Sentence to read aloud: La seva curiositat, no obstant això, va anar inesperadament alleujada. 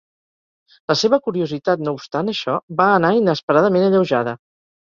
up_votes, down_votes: 4, 0